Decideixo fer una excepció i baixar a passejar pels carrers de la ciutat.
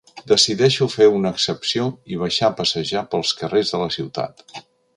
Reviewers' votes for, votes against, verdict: 3, 0, accepted